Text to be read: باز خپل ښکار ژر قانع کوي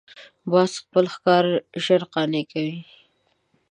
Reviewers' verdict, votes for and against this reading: accepted, 2, 0